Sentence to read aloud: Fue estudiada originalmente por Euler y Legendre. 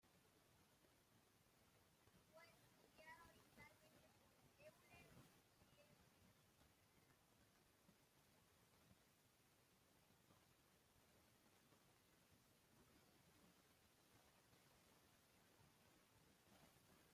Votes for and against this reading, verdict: 0, 2, rejected